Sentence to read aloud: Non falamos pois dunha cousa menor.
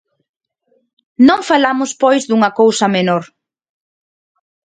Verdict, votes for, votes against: accepted, 2, 0